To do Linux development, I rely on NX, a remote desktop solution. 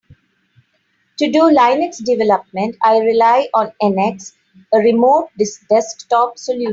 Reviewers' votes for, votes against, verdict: 0, 3, rejected